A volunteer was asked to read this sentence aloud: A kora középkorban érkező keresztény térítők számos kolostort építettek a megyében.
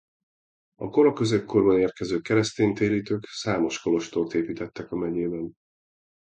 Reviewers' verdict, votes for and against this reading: accepted, 2, 0